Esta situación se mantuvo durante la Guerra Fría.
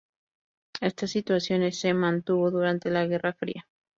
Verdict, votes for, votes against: rejected, 2, 2